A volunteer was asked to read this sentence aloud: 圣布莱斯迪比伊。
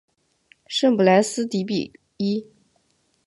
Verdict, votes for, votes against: accepted, 2, 0